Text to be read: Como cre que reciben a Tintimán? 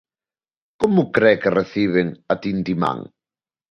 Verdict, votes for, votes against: accepted, 2, 0